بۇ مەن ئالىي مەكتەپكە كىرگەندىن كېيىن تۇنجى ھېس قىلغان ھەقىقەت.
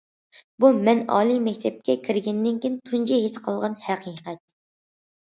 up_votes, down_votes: 0, 2